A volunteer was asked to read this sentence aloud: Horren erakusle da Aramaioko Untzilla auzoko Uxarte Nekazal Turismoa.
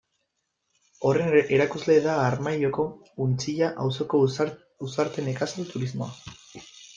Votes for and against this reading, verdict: 0, 2, rejected